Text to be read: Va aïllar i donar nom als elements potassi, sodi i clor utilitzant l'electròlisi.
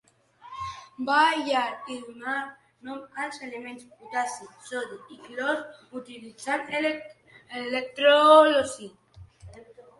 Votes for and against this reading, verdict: 1, 2, rejected